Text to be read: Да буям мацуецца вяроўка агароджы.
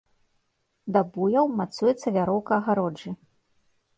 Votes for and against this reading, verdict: 1, 2, rejected